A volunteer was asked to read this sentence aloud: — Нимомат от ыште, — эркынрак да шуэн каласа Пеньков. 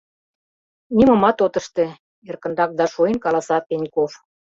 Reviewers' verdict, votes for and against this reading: accepted, 2, 0